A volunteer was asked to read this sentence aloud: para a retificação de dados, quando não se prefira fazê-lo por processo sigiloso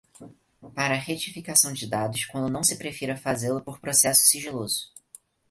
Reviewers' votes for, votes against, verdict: 4, 0, accepted